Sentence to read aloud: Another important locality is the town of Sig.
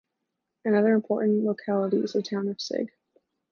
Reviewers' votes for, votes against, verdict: 2, 0, accepted